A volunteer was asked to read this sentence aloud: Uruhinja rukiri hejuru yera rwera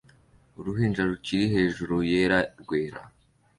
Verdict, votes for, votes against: accepted, 3, 0